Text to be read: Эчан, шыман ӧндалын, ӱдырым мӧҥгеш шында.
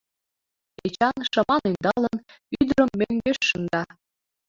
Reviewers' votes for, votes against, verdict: 2, 1, accepted